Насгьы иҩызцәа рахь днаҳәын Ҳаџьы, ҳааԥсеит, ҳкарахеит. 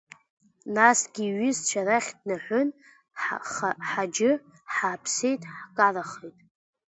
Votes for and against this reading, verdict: 2, 1, accepted